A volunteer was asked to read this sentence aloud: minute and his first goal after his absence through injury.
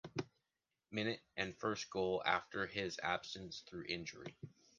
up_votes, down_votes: 2, 0